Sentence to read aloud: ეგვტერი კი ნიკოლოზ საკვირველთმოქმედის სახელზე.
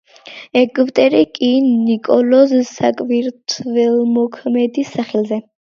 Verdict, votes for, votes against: accepted, 2, 1